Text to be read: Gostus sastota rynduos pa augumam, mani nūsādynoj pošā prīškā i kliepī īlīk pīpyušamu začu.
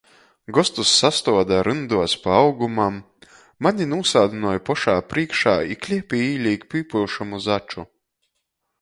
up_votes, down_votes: 1, 2